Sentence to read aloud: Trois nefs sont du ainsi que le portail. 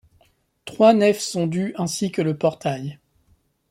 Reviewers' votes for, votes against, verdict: 2, 0, accepted